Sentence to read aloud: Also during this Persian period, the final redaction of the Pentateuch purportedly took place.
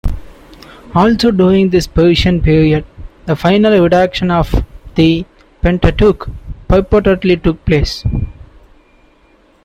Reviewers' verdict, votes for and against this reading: rejected, 1, 2